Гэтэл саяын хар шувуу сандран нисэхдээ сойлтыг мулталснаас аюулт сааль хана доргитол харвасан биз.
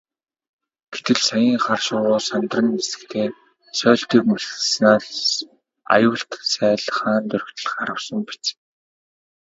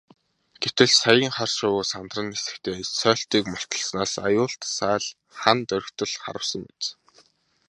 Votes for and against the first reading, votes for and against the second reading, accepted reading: 0, 2, 3, 0, second